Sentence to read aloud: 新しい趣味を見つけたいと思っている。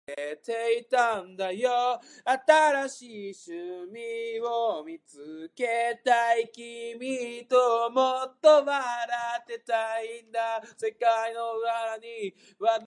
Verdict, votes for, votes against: rejected, 0, 2